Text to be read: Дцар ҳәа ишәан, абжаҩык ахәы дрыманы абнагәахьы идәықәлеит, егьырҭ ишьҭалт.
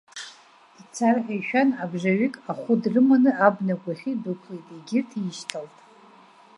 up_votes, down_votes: 1, 2